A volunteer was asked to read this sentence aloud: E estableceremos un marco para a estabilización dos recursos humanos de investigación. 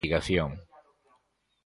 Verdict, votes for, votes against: rejected, 0, 2